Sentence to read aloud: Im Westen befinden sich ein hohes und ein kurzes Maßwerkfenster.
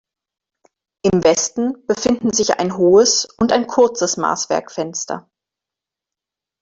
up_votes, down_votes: 2, 0